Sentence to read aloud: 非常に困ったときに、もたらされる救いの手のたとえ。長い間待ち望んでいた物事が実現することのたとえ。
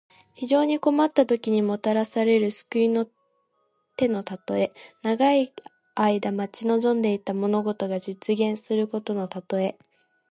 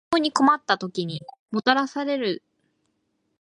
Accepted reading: first